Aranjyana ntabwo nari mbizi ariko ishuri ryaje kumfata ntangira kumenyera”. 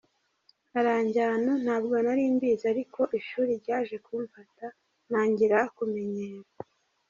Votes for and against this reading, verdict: 2, 0, accepted